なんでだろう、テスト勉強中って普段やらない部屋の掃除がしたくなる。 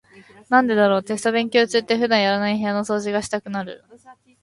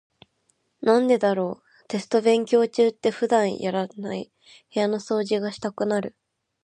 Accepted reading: second